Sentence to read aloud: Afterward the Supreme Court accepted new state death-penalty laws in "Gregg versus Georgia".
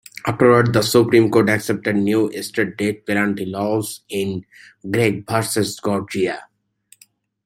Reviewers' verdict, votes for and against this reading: rejected, 1, 3